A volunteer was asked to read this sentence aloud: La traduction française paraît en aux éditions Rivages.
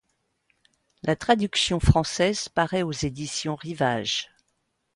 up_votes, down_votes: 0, 2